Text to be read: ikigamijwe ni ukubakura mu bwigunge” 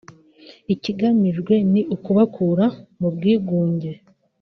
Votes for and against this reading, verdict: 2, 0, accepted